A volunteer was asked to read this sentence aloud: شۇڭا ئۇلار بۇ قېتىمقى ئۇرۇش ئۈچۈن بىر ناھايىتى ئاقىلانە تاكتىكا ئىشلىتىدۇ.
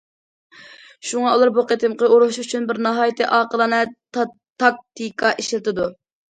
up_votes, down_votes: 1, 2